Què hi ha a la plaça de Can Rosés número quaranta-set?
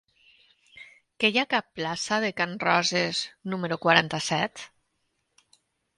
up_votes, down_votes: 0, 3